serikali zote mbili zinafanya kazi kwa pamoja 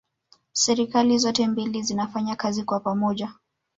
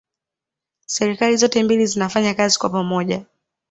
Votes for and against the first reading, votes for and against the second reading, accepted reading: 0, 2, 2, 1, second